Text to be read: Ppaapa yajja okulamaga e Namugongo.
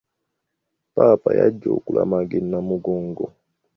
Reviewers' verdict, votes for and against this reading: accepted, 2, 0